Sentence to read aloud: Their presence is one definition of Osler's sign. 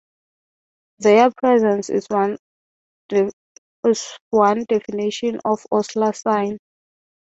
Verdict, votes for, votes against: rejected, 0, 3